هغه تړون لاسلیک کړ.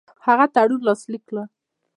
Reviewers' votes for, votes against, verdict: 2, 0, accepted